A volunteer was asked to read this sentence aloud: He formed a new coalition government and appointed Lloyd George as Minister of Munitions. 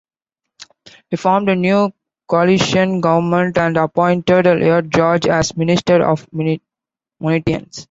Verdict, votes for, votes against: rejected, 0, 2